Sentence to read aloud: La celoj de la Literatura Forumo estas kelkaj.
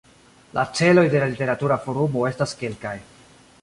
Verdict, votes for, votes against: accepted, 2, 0